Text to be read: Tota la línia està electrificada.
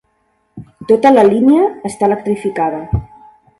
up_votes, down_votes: 3, 0